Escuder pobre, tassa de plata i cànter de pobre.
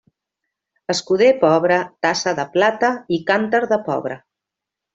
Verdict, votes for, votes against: accepted, 2, 0